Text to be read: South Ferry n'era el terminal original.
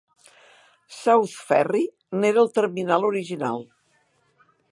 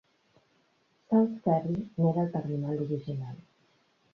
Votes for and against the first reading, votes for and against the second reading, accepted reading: 3, 0, 1, 2, first